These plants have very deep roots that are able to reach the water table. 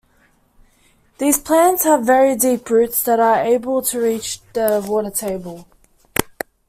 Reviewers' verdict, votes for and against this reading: accepted, 2, 0